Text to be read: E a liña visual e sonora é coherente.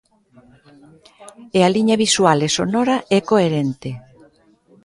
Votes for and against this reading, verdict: 2, 0, accepted